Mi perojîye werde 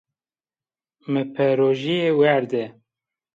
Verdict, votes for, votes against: accepted, 2, 0